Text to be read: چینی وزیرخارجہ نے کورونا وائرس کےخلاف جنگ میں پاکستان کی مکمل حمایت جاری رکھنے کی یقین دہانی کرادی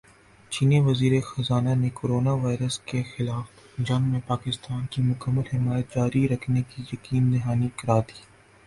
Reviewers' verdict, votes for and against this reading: rejected, 0, 2